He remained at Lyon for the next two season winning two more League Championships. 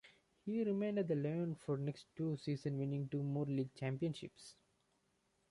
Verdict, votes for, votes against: accepted, 2, 1